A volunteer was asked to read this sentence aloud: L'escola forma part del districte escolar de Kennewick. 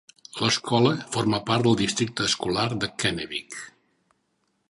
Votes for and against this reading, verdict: 2, 0, accepted